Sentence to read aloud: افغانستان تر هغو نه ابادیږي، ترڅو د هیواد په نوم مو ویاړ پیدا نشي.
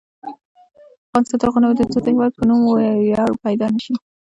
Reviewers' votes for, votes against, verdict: 2, 0, accepted